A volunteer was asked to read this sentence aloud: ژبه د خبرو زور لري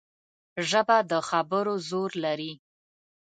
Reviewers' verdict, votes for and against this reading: accepted, 2, 0